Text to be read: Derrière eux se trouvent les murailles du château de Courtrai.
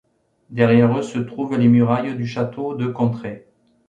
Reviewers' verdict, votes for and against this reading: accepted, 2, 0